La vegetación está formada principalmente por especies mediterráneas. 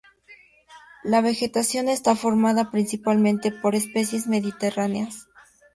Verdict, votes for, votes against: accepted, 2, 0